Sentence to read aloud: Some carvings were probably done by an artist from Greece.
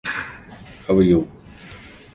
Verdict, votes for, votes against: rejected, 0, 2